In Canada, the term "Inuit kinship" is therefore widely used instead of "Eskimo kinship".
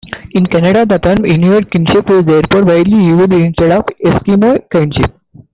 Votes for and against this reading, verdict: 1, 2, rejected